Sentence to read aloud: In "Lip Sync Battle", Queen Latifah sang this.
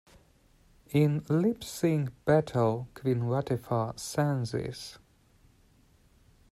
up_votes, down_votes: 1, 2